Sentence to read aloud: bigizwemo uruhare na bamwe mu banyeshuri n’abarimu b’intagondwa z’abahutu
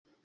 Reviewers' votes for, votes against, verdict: 1, 2, rejected